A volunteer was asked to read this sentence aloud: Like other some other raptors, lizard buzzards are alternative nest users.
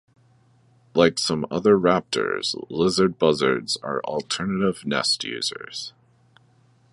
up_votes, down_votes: 2, 1